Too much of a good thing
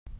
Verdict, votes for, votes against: rejected, 0, 2